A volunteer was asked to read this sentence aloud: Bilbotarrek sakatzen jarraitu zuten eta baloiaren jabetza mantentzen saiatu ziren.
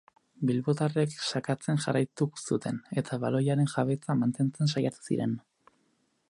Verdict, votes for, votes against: accepted, 6, 0